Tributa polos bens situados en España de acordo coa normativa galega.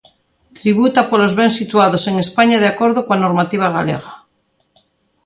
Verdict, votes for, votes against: accepted, 3, 0